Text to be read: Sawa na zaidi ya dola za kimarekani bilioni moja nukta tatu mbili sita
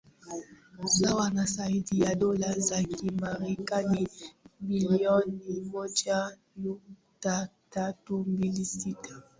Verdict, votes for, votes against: rejected, 0, 2